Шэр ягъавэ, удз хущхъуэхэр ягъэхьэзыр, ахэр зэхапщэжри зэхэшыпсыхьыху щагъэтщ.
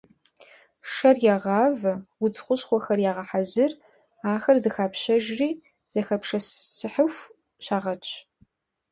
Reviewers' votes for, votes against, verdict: 0, 2, rejected